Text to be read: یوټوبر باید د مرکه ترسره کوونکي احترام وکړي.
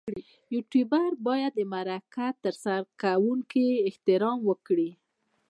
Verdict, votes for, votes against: accepted, 2, 1